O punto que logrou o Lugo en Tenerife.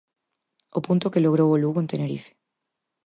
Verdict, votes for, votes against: accepted, 4, 0